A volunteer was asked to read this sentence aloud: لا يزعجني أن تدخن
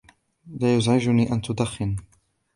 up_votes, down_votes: 0, 2